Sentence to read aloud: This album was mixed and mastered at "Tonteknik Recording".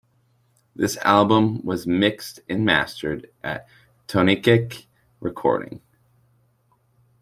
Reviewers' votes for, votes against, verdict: 0, 2, rejected